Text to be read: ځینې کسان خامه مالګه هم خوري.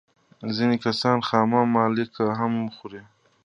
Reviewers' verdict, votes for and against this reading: accepted, 2, 1